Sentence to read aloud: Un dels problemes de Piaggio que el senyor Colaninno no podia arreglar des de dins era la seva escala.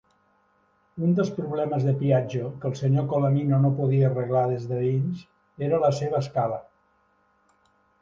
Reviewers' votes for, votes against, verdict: 2, 0, accepted